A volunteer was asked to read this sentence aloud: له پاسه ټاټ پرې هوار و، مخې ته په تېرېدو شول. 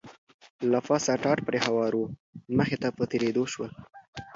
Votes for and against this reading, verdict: 2, 0, accepted